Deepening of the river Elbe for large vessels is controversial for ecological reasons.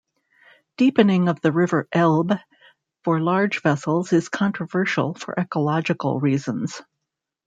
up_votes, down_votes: 1, 2